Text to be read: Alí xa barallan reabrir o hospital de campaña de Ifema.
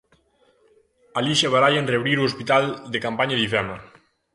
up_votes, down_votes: 2, 0